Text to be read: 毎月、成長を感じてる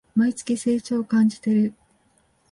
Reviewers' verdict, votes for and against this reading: accepted, 3, 0